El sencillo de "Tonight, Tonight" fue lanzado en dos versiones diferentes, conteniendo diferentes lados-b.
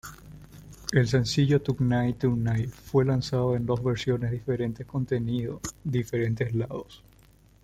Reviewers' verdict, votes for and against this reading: rejected, 0, 2